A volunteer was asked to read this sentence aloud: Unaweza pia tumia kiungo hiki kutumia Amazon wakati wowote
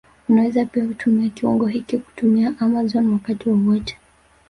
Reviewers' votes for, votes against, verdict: 1, 2, rejected